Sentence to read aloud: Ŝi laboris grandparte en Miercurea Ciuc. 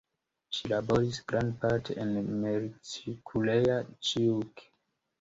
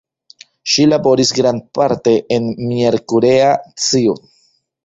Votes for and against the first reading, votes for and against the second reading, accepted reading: 2, 0, 0, 2, first